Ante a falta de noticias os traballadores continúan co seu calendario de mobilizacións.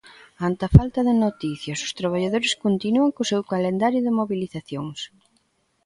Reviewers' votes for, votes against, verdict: 2, 0, accepted